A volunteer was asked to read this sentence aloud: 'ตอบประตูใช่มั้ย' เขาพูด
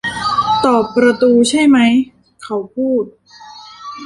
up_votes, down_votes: 0, 2